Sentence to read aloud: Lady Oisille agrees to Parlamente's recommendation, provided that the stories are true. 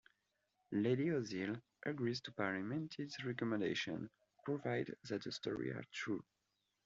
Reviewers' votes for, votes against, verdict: 0, 2, rejected